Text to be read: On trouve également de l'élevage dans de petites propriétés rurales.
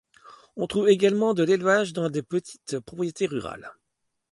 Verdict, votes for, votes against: rejected, 1, 2